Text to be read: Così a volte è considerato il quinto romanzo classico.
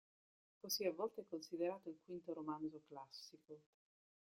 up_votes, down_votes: 1, 2